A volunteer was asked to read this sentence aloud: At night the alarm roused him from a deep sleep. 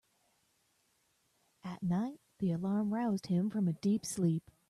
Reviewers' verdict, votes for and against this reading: accepted, 2, 0